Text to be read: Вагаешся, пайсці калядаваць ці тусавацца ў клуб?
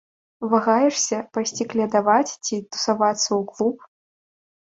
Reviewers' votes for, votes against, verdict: 2, 0, accepted